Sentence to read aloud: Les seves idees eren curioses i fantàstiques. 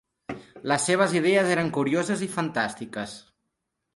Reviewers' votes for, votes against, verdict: 3, 0, accepted